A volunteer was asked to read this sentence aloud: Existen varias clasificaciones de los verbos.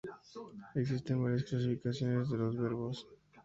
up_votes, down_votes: 2, 0